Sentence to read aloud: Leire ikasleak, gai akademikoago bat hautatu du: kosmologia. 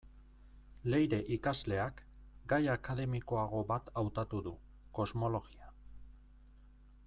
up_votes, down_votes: 1, 2